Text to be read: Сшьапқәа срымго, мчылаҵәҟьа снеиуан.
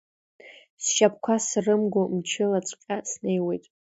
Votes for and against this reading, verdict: 0, 2, rejected